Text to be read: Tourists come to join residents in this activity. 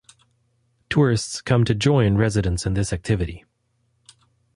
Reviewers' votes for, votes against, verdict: 2, 0, accepted